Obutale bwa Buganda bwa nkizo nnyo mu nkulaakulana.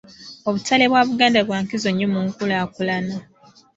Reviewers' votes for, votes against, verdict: 2, 0, accepted